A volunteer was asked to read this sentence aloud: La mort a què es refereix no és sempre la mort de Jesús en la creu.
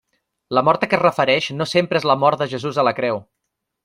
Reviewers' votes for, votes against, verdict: 0, 3, rejected